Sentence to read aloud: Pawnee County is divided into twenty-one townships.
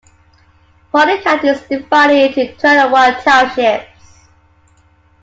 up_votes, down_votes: 1, 2